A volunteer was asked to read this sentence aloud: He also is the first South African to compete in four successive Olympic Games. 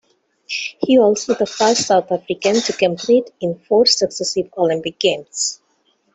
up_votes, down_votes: 0, 2